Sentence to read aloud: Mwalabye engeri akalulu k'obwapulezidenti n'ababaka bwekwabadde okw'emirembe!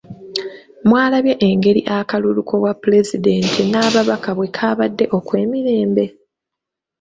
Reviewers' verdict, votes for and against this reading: accepted, 2, 0